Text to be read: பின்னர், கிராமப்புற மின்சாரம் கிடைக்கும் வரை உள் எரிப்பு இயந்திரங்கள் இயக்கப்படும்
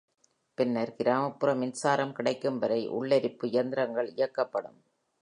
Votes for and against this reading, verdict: 3, 0, accepted